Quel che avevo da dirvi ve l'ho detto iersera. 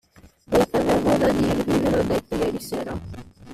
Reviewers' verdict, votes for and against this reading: rejected, 0, 2